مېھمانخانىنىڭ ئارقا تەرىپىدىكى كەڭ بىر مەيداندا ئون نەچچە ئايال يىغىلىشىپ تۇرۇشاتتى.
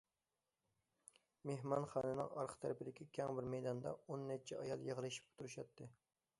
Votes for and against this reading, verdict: 2, 0, accepted